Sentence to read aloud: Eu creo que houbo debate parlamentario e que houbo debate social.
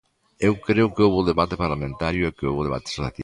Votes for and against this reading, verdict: 0, 2, rejected